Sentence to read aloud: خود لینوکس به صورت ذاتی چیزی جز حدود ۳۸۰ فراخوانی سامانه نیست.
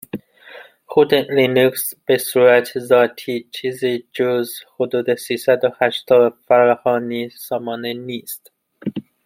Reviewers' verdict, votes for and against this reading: rejected, 0, 2